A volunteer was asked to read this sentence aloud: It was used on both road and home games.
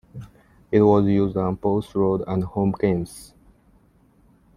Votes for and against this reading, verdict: 2, 0, accepted